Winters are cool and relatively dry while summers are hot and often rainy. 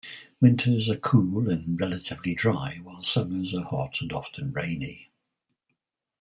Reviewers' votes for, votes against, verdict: 2, 4, rejected